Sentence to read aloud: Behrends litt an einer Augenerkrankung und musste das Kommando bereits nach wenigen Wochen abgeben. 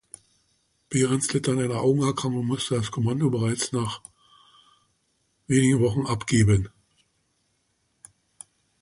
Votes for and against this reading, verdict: 2, 0, accepted